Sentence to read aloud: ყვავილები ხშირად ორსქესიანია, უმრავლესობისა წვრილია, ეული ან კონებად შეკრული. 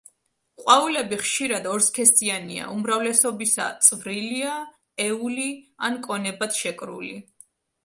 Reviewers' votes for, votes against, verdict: 2, 0, accepted